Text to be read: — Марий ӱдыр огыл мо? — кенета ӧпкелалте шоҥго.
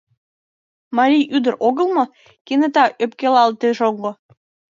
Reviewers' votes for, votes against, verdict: 0, 2, rejected